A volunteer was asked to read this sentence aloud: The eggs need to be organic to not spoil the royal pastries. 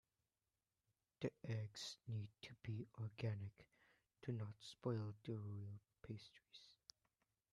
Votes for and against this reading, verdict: 1, 2, rejected